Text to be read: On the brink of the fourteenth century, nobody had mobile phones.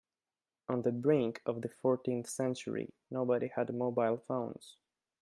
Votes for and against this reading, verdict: 2, 0, accepted